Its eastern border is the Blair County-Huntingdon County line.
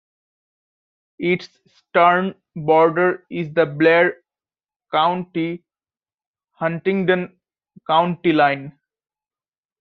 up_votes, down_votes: 1, 2